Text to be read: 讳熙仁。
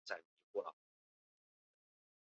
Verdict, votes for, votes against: rejected, 0, 2